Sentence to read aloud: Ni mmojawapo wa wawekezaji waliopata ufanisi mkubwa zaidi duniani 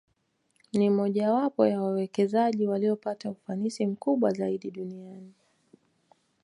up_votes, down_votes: 2, 1